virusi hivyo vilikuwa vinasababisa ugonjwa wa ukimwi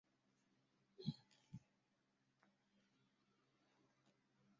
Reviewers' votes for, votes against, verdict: 0, 2, rejected